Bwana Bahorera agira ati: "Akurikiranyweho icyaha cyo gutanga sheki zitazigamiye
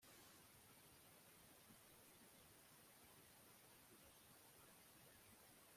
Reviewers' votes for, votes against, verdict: 0, 2, rejected